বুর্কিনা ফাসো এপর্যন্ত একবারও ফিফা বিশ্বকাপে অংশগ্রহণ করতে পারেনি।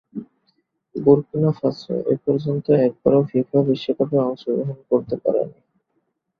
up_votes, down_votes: 6, 1